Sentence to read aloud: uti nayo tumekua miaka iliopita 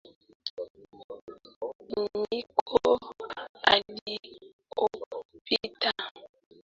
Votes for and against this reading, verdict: 0, 2, rejected